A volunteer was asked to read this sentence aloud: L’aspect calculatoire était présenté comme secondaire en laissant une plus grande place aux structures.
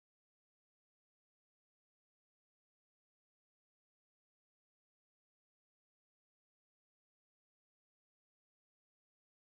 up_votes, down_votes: 0, 2